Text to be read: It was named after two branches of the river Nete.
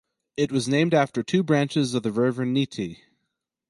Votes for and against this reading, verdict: 2, 2, rejected